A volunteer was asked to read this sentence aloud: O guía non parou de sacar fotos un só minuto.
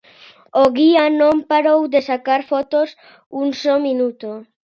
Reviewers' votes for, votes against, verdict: 2, 0, accepted